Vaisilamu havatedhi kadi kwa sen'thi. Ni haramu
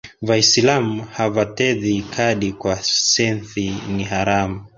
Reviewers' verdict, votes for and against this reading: accepted, 3, 2